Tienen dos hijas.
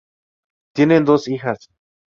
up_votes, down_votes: 2, 0